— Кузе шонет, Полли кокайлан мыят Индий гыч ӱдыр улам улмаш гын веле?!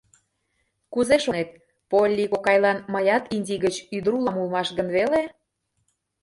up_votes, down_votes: 1, 2